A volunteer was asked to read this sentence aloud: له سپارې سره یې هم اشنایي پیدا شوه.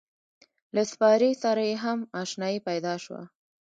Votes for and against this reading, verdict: 1, 2, rejected